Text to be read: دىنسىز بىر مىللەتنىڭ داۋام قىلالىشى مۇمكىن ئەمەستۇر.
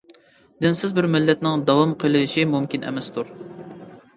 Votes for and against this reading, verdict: 0, 2, rejected